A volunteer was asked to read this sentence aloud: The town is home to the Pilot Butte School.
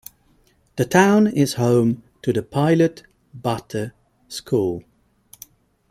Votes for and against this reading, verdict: 2, 0, accepted